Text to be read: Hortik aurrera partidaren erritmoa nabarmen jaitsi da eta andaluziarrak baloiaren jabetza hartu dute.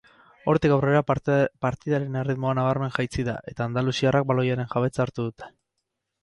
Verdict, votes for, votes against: rejected, 0, 4